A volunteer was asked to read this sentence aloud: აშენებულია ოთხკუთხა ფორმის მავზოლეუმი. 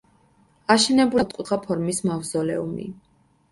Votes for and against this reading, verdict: 0, 2, rejected